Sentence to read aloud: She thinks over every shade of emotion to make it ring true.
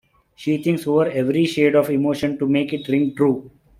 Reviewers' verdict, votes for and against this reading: accepted, 2, 0